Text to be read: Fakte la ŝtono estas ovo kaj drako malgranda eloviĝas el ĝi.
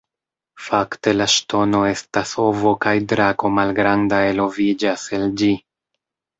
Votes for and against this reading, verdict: 2, 0, accepted